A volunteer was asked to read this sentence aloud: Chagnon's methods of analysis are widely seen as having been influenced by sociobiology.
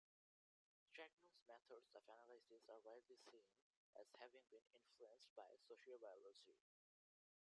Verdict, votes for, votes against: rejected, 1, 2